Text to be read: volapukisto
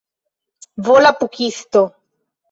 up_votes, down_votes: 0, 2